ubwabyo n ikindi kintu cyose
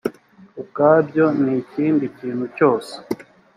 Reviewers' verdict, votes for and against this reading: accepted, 3, 0